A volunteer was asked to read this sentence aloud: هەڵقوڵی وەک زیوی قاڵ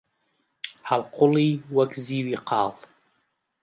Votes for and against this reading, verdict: 2, 0, accepted